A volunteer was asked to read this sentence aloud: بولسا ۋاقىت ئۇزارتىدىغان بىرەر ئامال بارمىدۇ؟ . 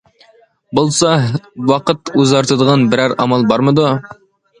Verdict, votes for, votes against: accepted, 2, 0